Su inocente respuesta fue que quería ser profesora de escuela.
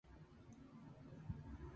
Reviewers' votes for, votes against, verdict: 0, 2, rejected